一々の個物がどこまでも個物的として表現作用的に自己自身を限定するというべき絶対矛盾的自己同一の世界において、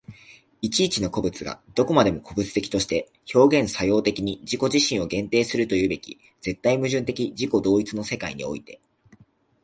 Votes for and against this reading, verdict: 3, 0, accepted